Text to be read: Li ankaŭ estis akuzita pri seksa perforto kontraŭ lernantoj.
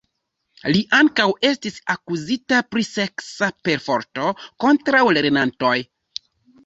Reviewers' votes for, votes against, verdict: 2, 1, accepted